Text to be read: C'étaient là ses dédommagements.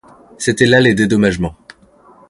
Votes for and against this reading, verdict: 1, 2, rejected